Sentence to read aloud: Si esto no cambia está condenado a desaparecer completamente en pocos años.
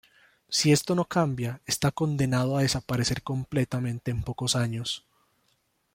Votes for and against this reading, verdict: 2, 0, accepted